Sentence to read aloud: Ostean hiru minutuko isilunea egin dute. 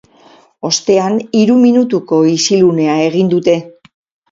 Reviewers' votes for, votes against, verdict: 4, 0, accepted